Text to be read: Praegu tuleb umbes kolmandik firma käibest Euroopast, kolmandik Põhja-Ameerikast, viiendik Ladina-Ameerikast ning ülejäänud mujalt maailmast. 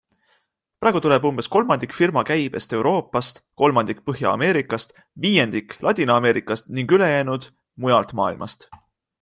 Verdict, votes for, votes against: accepted, 6, 0